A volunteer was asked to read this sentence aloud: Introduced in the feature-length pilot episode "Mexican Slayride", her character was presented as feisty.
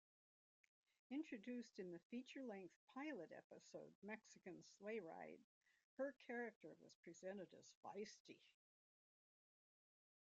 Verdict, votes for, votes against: rejected, 1, 2